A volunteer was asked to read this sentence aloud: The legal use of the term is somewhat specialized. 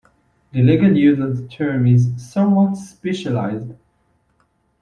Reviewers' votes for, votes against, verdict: 2, 0, accepted